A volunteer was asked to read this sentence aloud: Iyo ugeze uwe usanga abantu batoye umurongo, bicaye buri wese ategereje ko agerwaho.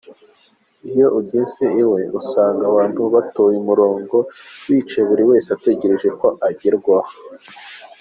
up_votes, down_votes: 2, 1